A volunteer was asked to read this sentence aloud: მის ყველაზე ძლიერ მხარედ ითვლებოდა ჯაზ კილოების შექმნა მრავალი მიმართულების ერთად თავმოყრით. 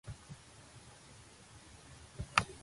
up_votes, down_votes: 0, 2